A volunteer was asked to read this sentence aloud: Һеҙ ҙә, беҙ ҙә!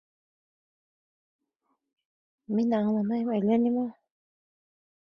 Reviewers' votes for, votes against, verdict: 1, 2, rejected